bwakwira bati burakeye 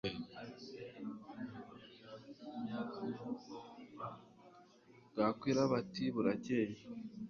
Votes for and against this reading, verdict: 1, 2, rejected